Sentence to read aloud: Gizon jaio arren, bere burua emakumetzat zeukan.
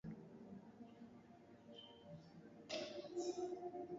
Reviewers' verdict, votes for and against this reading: rejected, 0, 2